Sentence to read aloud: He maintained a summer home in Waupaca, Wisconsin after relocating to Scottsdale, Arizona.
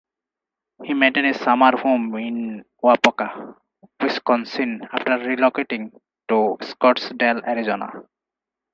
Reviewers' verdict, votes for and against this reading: accepted, 4, 2